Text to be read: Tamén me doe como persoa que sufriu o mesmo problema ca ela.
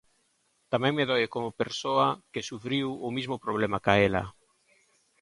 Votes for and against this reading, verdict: 1, 2, rejected